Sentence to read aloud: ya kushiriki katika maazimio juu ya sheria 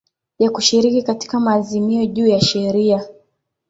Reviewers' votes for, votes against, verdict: 2, 1, accepted